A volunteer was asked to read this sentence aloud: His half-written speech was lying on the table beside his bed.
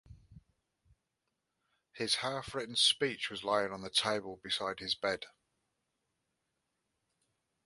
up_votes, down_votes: 2, 0